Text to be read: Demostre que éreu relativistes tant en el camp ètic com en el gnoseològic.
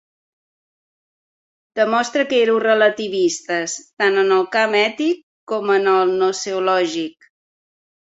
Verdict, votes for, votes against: accepted, 2, 0